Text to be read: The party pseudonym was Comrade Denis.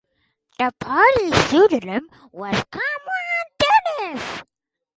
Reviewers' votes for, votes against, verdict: 2, 4, rejected